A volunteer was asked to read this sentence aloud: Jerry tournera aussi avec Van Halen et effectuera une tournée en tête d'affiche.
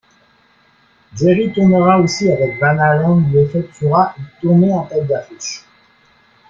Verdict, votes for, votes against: rejected, 0, 2